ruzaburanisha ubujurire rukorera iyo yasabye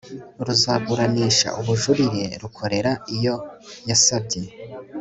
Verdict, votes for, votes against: accepted, 3, 0